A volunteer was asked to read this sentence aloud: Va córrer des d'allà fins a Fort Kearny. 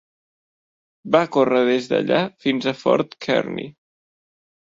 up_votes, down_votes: 1, 2